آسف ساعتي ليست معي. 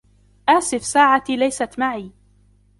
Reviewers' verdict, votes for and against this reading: accepted, 2, 0